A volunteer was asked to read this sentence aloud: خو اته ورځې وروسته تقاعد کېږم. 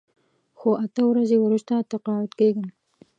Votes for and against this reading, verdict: 2, 0, accepted